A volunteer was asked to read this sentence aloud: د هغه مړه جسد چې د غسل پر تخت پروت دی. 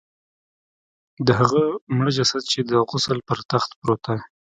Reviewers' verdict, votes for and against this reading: accepted, 2, 0